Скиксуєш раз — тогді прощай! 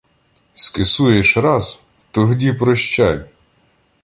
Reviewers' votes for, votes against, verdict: 1, 2, rejected